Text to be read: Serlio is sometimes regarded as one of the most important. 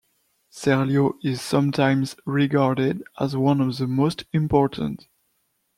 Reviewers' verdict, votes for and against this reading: accepted, 2, 0